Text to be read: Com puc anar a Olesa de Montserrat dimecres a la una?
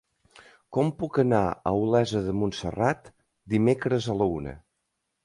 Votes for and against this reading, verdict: 2, 0, accepted